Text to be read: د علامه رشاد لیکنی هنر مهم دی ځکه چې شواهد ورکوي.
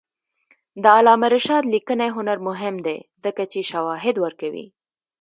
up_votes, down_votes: 1, 2